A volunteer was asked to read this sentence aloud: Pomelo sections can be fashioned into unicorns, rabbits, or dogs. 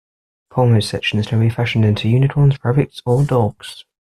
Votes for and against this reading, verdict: 0, 2, rejected